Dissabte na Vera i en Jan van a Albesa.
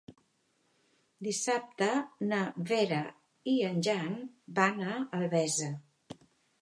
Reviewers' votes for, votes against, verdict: 3, 0, accepted